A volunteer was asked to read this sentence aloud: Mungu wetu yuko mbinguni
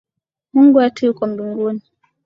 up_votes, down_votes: 2, 0